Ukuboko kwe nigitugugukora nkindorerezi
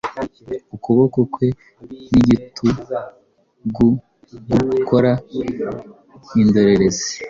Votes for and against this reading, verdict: 2, 0, accepted